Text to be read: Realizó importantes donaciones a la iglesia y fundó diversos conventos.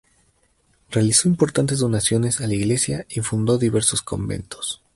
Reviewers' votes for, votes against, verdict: 4, 0, accepted